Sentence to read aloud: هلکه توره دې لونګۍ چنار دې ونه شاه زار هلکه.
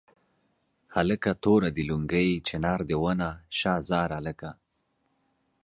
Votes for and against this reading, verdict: 2, 0, accepted